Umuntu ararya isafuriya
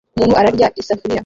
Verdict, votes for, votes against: rejected, 1, 2